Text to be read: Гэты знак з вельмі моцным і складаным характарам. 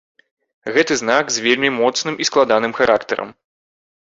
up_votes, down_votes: 2, 0